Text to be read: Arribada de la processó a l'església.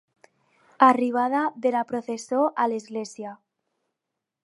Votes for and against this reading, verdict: 0, 2, rejected